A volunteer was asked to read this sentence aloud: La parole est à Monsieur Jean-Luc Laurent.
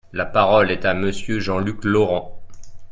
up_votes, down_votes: 2, 0